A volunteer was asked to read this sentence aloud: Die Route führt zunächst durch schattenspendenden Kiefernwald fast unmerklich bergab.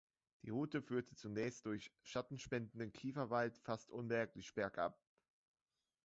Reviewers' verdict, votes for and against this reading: accepted, 2, 0